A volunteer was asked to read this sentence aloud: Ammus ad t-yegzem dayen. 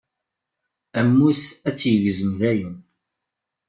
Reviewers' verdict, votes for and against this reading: rejected, 0, 2